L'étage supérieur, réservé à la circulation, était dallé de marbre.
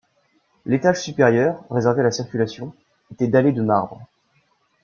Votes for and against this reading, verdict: 0, 2, rejected